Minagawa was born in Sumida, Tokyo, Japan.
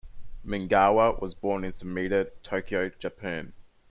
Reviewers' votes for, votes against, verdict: 1, 2, rejected